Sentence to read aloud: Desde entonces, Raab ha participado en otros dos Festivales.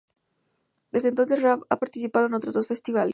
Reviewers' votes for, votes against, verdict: 2, 2, rejected